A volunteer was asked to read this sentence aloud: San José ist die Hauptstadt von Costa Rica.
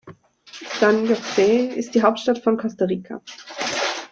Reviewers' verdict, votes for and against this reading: accepted, 2, 0